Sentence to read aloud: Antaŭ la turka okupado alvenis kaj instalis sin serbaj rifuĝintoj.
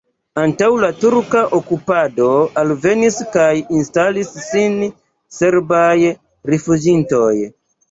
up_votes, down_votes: 2, 0